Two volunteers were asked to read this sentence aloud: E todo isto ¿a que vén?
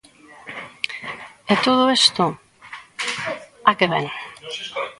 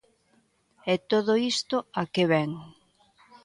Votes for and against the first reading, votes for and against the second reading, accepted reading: 0, 2, 2, 0, second